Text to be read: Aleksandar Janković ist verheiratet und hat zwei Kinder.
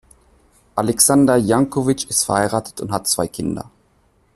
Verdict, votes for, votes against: accepted, 2, 0